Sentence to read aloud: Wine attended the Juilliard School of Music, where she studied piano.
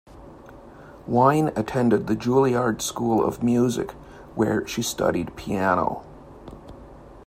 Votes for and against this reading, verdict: 2, 0, accepted